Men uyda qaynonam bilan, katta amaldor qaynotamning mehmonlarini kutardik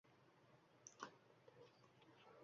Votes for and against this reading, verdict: 1, 2, rejected